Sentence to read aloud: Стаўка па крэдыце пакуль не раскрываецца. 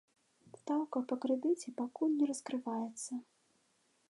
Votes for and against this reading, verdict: 2, 0, accepted